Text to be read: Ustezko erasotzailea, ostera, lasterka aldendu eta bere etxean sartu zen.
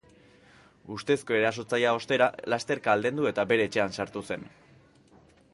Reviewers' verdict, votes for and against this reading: accepted, 2, 0